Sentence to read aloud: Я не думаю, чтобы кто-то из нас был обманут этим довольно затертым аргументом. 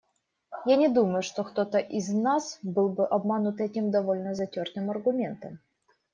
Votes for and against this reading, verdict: 1, 2, rejected